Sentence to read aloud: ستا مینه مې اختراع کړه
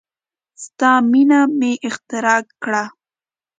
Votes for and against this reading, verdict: 2, 0, accepted